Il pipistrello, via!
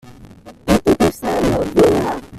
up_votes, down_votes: 1, 2